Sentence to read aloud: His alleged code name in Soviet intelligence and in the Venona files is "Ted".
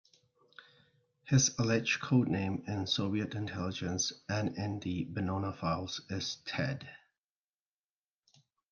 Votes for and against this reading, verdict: 2, 0, accepted